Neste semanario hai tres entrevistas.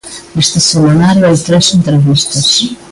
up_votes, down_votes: 1, 2